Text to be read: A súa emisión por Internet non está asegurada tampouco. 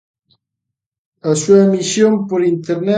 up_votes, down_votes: 0, 2